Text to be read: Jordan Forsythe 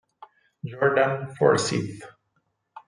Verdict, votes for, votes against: accepted, 4, 0